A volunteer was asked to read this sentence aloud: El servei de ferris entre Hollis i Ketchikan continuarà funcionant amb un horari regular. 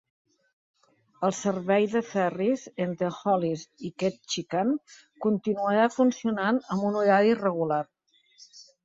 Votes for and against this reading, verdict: 3, 0, accepted